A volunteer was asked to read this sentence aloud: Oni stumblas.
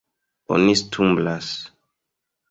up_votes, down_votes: 2, 0